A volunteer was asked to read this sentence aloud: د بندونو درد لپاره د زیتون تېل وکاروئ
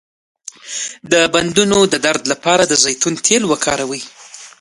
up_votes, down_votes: 2, 1